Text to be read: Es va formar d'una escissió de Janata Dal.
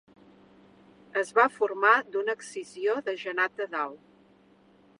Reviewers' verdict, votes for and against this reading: rejected, 1, 2